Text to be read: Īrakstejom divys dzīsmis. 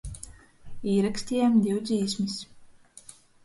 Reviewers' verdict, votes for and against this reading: rejected, 0, 2